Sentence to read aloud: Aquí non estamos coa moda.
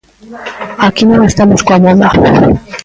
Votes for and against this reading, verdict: 0, 2, rejected